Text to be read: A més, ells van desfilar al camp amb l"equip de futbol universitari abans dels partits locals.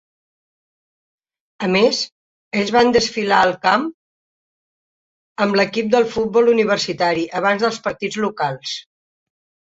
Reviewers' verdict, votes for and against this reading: rejected, 1, 2